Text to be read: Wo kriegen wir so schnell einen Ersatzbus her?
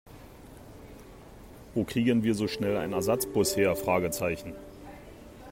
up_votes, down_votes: 1, 2